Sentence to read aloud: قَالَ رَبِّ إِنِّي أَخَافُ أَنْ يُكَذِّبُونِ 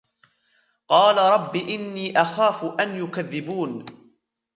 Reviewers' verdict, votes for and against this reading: accepted, 2, 1